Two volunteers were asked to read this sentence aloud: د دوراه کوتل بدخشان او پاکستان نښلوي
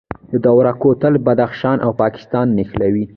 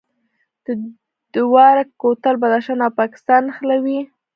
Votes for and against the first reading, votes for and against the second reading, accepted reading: 2, 1, 1, 2, first